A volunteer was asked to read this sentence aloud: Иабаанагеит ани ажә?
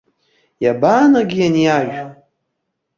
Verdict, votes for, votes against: accepted, 2, 0